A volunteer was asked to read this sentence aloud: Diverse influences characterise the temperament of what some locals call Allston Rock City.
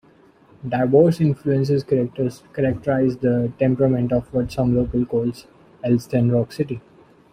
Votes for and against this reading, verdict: 0, 2, rejected